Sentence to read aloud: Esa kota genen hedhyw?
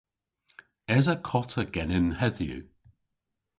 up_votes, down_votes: 2, 0